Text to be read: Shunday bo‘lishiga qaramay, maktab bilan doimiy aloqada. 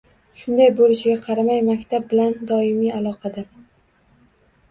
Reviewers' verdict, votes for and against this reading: accepted, 2, 0